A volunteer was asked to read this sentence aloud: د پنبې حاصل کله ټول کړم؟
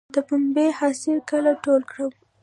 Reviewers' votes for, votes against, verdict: 0, 2, rejected